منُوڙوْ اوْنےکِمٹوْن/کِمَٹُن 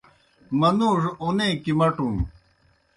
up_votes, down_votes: 2, 0